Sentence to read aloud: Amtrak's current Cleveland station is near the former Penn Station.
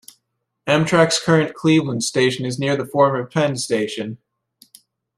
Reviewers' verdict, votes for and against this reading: accepted, 2, 0